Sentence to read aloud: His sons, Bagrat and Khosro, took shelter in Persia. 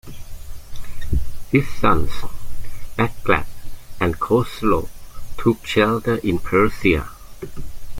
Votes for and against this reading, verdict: 0, 2, rejected